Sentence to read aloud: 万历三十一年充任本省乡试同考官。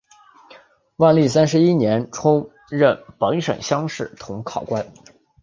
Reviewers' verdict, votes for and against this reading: accepted, 3, 1